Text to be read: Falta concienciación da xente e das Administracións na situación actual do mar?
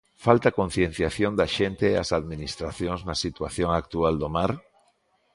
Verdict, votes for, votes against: accepted, 2, 0